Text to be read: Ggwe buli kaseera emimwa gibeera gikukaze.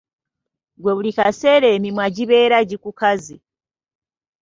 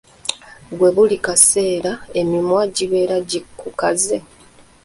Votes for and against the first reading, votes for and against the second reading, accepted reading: 2, 0, 1, 2, first